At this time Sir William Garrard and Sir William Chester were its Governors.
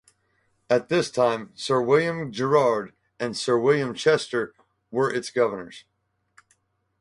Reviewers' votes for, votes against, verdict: 0, 2, rejected